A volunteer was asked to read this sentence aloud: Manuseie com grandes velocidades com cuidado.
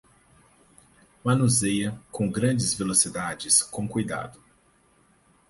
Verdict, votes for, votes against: accepted, 4, 0